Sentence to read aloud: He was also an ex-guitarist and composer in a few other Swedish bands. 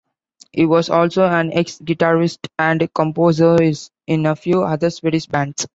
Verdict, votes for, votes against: rejected, 1, 2